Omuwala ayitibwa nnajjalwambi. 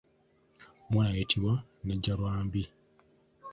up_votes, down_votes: 3, 1